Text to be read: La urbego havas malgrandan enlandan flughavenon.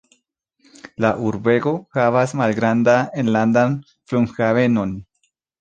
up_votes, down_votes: 2, 1